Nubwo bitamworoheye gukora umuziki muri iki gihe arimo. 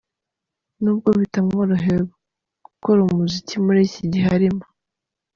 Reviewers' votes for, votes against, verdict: 2, 0, accepted